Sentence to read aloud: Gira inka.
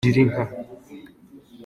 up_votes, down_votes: 2, 0